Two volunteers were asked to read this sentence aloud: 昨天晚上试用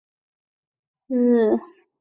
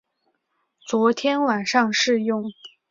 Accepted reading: second